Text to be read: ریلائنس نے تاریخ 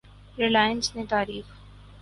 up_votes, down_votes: 10, 0